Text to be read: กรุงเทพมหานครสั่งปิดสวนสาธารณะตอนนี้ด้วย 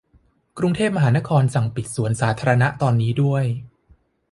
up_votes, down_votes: 2, 0